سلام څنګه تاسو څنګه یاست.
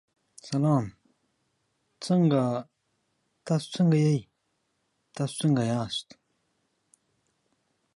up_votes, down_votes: 1, 2